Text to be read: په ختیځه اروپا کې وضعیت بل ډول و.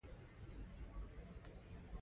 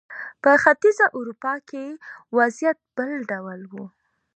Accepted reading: second